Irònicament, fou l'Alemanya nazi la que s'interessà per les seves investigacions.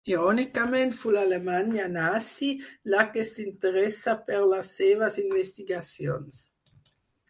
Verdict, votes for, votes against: rejected, 2, 4